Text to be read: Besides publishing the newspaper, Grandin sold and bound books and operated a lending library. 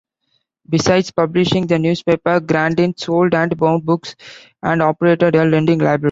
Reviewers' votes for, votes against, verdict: 1, 2, rejected